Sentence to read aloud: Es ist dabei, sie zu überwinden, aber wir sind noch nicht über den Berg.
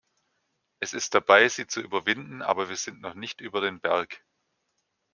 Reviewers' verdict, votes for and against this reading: accepted, 3, 0